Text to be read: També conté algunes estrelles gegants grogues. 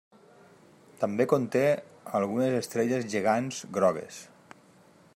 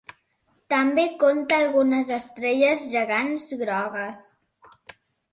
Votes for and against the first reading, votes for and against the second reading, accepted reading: 2, 0, 2, 3, first